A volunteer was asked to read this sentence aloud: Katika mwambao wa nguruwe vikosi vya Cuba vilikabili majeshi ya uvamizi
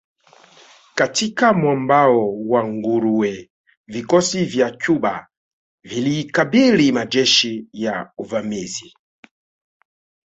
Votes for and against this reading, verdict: 3, 0, accepted